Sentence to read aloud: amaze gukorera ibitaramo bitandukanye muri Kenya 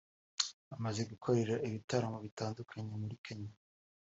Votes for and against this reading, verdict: 2, 0, accepted